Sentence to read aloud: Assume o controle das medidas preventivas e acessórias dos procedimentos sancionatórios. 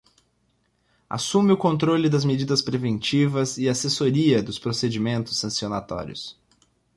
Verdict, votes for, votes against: rejected, 0, 2